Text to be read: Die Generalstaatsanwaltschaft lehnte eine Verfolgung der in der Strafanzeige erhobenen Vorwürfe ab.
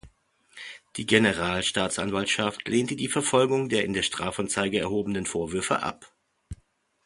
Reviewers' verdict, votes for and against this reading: rejected, 0, 2